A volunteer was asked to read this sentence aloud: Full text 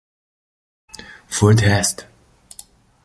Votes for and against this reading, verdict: 0, 2, rejected